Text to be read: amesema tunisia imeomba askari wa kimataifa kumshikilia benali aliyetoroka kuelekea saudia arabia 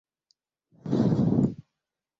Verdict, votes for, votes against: rejected, 0, 2